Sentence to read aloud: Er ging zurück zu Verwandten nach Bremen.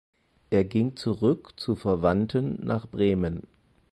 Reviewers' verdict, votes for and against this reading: accepted, 4, 0